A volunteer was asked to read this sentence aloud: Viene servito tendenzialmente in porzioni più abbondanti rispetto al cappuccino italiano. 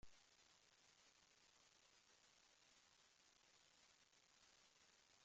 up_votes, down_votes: 0, 2